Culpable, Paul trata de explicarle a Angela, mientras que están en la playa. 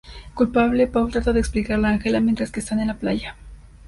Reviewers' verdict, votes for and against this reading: accepted, 4, 1